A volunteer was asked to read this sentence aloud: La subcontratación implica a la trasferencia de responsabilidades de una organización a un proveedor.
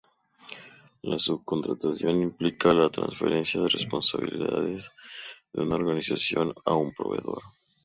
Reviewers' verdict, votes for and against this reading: accepted, 2, 0